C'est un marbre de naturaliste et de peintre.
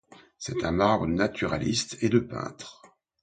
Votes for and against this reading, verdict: 1, 2, rejected